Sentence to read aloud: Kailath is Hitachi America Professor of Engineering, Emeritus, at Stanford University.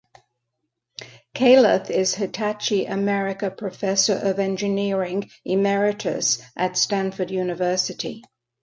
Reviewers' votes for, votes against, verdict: 2, 0, accepted